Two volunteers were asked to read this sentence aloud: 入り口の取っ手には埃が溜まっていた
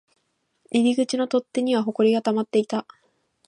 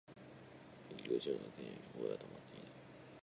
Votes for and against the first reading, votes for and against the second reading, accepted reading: 2, 0, 0, 2, first